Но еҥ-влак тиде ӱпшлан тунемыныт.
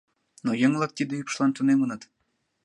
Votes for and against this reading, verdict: 2, 0, accepted